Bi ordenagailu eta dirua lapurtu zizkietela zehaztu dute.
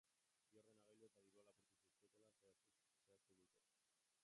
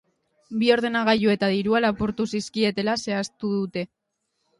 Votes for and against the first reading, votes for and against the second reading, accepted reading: 0, 2, 3, 0, second